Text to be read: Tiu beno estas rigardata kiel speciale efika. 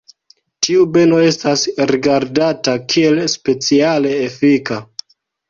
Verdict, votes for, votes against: accepted, 2, 0